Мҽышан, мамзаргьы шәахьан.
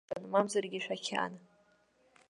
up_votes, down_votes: 0, 2